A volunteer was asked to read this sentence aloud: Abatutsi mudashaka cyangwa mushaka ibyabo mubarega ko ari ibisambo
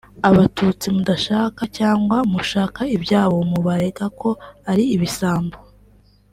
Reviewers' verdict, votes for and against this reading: accepted, 3, 1